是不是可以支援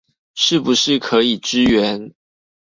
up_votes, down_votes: 2, 0